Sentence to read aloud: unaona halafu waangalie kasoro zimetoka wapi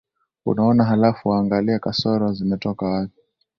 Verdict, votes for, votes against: accepted, 2, 0